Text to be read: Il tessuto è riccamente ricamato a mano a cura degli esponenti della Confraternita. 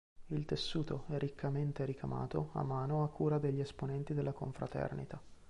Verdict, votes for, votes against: rejected, 1, 2